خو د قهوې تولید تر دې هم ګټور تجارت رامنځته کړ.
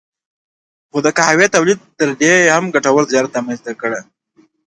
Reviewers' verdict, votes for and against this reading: accepted, 2, 0